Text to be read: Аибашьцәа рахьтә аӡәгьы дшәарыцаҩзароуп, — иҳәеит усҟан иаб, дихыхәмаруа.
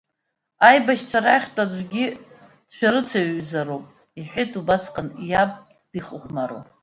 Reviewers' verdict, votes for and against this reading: rejected, 0, 2